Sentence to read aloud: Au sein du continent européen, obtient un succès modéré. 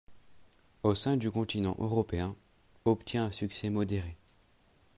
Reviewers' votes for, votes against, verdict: 2, 0, accepted